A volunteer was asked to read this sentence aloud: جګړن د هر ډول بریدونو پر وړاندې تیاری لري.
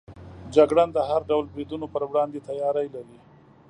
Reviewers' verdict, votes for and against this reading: accepted, 2, 0